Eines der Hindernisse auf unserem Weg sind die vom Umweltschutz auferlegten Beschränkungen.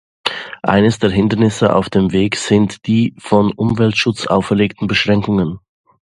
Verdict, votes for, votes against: rejected, 0, 2